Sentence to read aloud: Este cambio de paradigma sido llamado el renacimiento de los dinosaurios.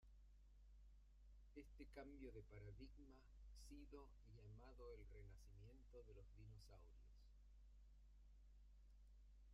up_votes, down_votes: 0, 2